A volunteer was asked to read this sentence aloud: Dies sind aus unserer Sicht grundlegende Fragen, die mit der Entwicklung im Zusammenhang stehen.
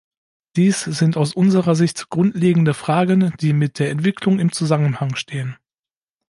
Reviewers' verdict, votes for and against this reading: accepted, 2, 1